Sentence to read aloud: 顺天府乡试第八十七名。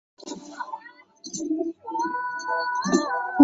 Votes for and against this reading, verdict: 0, 2, rejected